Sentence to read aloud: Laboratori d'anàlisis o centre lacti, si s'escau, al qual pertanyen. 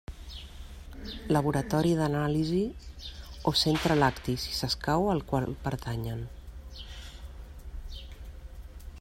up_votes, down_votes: 2, 1